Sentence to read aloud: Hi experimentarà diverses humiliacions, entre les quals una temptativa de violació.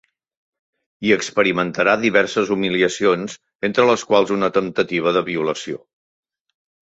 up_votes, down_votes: 3, 0